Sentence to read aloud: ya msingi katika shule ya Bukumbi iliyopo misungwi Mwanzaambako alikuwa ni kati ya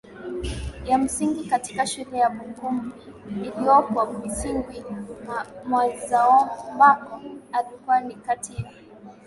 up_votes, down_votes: 6, 2